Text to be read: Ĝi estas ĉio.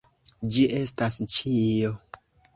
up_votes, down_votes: 2, 1